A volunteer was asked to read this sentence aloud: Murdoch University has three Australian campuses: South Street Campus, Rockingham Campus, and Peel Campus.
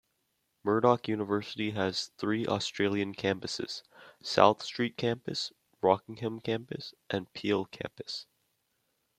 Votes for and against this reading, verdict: 0, 2, rejected